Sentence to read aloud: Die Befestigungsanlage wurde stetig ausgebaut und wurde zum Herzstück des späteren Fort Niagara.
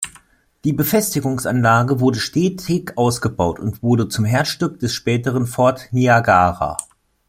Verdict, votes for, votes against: accepted, 2, 0